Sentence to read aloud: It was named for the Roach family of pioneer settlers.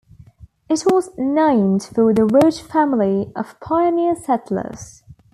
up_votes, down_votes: 2, 0